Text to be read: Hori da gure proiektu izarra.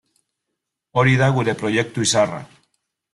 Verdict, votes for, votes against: accepted, 2, 0